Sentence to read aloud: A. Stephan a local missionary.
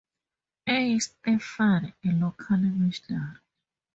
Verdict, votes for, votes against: rejected, 0, 2